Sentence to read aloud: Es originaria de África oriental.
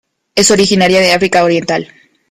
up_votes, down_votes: 2, 0